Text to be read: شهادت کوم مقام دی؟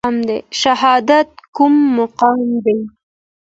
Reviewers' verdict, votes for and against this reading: accepted, 2, 0